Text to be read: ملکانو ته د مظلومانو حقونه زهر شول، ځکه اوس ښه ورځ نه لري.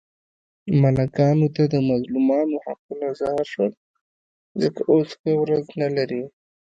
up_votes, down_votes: 1, 2